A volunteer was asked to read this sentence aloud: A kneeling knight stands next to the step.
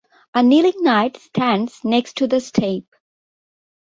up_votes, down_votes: 2, 1